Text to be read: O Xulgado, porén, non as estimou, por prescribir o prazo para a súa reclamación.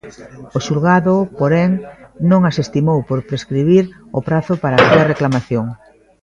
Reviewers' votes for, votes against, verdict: 2, 0, accepted